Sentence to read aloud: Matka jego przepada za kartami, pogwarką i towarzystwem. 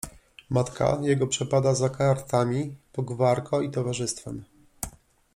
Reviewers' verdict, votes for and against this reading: rejected, 1, 2